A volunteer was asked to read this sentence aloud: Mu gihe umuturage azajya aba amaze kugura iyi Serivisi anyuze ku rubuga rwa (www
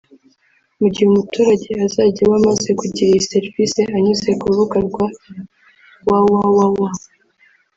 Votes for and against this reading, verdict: 1, 2, rejected